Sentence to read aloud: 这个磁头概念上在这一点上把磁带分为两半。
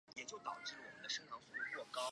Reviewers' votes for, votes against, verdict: 0, 2, rejected